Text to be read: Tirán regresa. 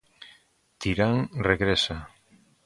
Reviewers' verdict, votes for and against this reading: accepted, 2, 0